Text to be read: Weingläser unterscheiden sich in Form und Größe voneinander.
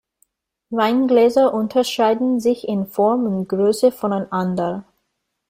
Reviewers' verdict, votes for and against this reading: rejected, 1, 2